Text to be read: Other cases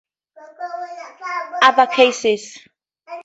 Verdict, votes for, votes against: rejected, 2, 2